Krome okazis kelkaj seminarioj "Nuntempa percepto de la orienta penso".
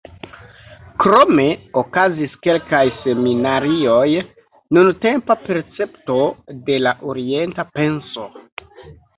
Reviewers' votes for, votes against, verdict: 1, 2, rejected